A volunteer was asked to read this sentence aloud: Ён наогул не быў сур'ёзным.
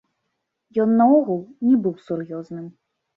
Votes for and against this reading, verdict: 2, 0, accepted